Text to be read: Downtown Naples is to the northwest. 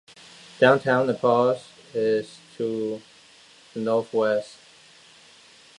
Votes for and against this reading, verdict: 1, 2, rejected